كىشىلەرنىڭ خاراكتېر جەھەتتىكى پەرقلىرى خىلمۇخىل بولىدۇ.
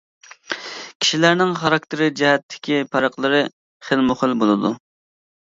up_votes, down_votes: 2, 0